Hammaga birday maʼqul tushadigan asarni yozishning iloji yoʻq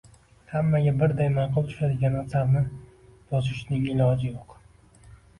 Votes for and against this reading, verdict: 2, 0, accepted